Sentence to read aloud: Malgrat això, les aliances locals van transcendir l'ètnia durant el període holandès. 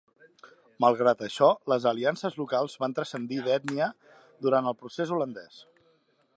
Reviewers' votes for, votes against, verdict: 0, 2, rejected